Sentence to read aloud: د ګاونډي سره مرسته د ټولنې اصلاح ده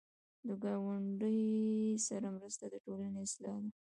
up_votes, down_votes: 1, 2